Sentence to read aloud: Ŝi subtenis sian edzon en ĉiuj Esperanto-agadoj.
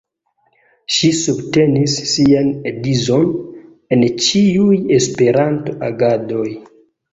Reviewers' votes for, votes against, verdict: 0, 2, rejected